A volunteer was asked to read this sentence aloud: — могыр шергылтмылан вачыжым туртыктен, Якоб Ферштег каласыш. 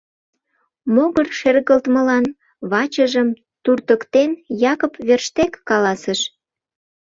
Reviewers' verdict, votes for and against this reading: rejected, 1, 2